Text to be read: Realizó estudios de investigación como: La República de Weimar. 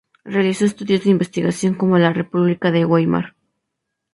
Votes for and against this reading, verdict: 2, 0, accepted